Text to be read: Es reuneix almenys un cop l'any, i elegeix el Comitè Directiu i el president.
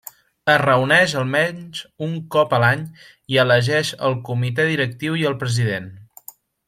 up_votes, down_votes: 1, 2